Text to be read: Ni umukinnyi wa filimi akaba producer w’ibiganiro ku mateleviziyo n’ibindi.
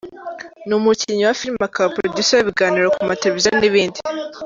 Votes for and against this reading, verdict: 2, 0, accepted